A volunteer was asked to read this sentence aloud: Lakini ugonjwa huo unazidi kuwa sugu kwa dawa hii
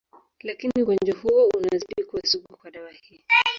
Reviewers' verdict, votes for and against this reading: rejected, 0, 2